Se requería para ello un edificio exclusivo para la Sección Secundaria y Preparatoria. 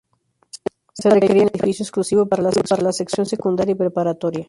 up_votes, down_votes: 0, 2